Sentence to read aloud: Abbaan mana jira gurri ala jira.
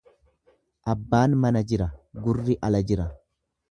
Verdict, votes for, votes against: accepted, 2, 0